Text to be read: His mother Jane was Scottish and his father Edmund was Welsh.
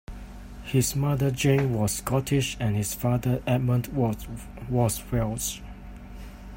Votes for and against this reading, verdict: 0, 2, rejected